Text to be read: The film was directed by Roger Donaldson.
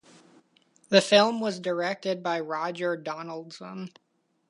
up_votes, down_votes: 2, 1